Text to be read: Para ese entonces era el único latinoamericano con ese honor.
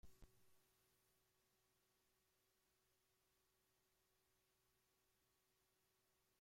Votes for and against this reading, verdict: 0, 2, rejected